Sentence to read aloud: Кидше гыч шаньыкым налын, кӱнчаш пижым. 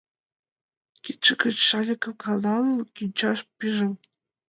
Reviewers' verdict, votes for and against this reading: rejected, 0, 2